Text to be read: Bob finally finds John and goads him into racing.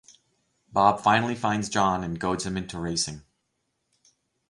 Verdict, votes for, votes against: accepted, 4, 0